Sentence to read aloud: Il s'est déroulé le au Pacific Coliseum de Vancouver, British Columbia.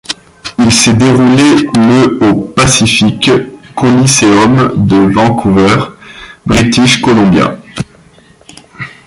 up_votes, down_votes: 2, 0